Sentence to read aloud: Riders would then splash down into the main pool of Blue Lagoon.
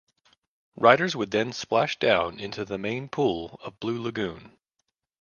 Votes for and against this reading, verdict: 2, 0, accepted